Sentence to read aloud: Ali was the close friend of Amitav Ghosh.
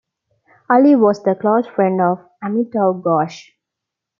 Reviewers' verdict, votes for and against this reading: accepted, 2, 0